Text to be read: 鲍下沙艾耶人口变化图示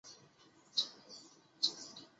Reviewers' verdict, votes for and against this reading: rejected, 0, 2